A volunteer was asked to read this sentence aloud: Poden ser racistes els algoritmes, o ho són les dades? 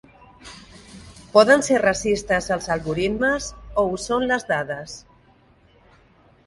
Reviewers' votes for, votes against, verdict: 6, 0, accepted